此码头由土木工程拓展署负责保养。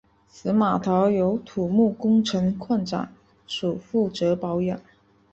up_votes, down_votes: 2, 0